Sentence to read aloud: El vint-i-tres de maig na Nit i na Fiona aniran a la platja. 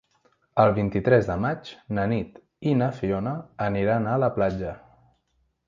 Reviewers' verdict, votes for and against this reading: accepted, 3, 0